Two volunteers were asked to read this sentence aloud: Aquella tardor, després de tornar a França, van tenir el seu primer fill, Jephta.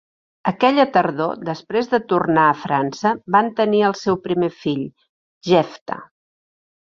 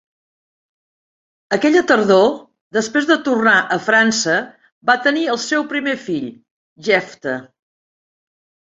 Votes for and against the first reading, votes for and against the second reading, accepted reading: 2, 0, 0, 2, first